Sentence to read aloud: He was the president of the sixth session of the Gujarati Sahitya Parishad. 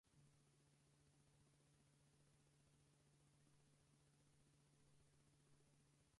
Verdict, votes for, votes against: rejected, 0, 4